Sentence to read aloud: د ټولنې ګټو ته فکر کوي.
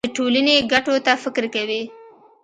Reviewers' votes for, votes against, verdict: 2, 0, accepted